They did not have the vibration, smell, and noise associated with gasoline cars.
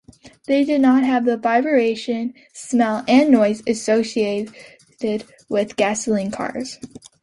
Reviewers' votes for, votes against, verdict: 0, 2, rejected